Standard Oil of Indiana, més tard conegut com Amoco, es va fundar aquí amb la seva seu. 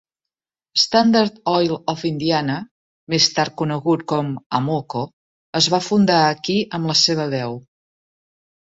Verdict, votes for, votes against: rejected, 1, 2